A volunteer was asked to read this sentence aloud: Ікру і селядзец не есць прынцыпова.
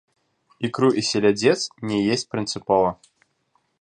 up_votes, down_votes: 0, 2